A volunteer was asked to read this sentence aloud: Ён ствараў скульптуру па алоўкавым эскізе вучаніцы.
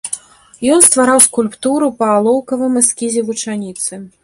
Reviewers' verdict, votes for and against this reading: accepted, 2, 0